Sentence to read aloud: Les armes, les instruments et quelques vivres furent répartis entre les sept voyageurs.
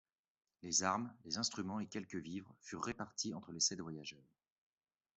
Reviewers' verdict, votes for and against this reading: accepted, 2, 0